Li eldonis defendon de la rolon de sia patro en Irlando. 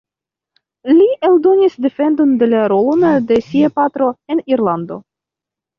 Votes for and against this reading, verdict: 2, 3, rejected